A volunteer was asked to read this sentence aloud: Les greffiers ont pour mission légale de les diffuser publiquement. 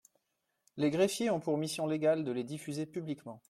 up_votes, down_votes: 2, 0